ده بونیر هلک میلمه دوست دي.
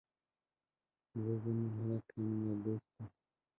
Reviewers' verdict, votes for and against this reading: rejected, 0, 2